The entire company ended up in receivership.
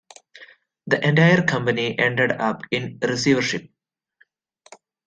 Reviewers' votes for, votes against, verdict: 2, 0, accepted